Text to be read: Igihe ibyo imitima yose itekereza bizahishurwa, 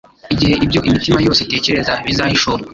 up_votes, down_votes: 1, 2